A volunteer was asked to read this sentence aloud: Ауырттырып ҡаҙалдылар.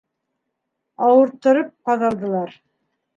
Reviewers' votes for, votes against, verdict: 3, 0, accepted